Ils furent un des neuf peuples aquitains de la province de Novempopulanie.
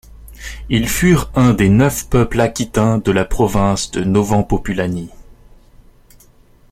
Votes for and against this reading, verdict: 1, 2, rejected